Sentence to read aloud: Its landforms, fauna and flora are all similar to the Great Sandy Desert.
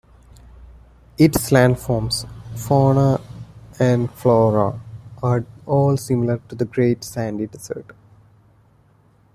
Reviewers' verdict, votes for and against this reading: accepted, 2, 0